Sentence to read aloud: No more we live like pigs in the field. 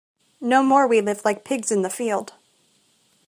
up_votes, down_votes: 2, 0